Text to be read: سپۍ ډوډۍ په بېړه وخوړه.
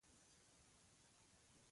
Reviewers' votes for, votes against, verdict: 0, 2, rejected